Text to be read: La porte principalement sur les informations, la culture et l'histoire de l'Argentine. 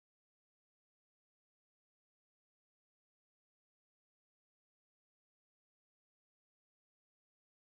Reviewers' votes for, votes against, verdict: 0, 2, rejected